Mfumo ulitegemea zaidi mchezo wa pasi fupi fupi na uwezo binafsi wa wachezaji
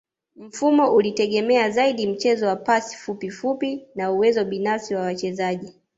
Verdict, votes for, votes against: rejected, 1, 2